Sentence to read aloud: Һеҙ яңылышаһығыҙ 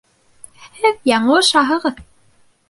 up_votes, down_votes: 2, 0